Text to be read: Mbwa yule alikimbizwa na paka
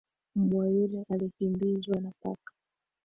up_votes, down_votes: 2, 1